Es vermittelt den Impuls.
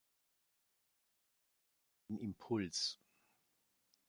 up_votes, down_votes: 0, 2